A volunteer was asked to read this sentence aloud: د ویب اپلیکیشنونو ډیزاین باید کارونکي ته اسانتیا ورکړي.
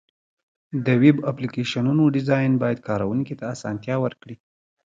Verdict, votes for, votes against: accepted, 3, 1